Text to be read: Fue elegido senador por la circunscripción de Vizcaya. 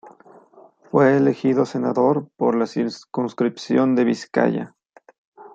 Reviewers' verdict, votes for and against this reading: rejected, 1, 2